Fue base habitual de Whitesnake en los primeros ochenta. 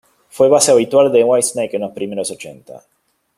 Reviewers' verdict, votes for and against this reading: rejected, 0, 2